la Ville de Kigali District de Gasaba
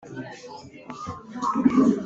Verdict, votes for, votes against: rejected, 0, 3